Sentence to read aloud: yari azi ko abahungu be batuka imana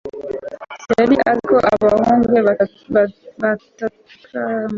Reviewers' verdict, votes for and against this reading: rejected, 1, 2